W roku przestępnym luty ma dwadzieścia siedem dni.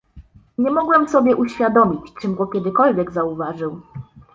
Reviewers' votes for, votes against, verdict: 0, 2, rejected